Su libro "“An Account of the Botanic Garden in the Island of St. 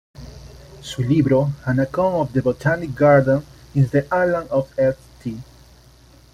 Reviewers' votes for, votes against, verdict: 2, 0, accepted